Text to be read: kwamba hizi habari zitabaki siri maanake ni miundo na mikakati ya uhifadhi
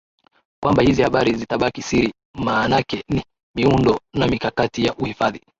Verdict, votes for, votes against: accepted, 23, 4